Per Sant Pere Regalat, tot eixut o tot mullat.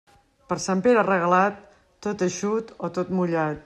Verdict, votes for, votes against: accepted, 3, 0